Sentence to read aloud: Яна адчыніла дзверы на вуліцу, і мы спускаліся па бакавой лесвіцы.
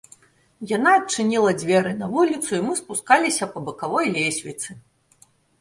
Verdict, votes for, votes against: accepted, 2, 0